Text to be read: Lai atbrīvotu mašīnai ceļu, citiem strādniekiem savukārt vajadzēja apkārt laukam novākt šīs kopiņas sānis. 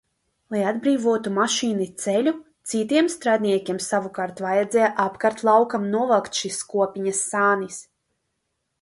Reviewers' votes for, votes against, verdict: 0, 2, rejected